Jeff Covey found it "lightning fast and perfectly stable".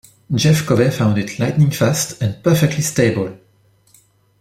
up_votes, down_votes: 2, 0